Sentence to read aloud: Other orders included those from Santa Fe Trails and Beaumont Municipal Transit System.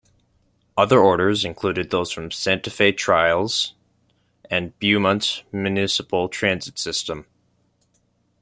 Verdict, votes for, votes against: accepted, 2, 0